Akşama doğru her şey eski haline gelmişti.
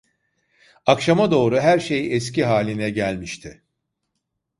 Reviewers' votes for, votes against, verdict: 2, 0, accepted